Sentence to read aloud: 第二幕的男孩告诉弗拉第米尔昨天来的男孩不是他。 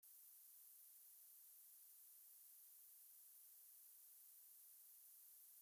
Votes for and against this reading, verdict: 0, 2, rejected